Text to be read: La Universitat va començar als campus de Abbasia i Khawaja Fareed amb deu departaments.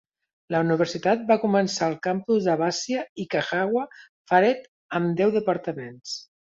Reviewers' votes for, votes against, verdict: 1, 2, rejected